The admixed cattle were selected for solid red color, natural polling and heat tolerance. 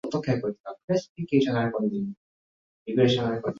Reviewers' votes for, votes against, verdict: 0, 11, rejected